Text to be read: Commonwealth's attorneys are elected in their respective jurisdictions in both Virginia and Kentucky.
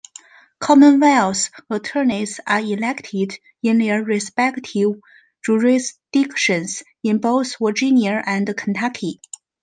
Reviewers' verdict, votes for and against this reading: accepted, 2, 0